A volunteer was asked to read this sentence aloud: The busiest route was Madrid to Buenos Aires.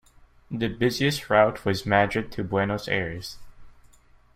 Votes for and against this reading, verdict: 1, 2, rejected